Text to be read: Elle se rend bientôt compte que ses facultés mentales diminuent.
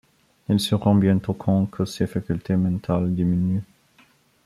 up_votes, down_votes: 2, 1